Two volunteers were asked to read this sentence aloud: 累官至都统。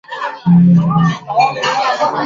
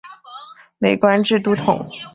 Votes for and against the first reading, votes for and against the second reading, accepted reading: 0, 3, 8, 0, second